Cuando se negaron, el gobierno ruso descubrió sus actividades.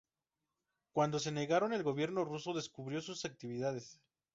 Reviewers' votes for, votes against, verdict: 2, 0, accepted